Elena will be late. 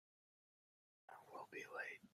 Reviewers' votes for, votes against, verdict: 0, 2, rejected